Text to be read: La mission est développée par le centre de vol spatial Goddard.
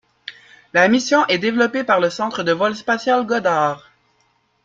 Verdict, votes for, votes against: accepted, 2, 0